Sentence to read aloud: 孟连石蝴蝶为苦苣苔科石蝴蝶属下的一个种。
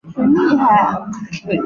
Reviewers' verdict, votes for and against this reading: rejected, 0, 2